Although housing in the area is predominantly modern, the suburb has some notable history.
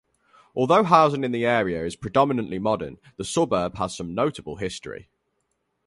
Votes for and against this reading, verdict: 2, 0, accepted